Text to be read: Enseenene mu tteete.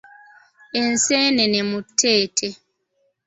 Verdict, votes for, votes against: accepted, 2, 0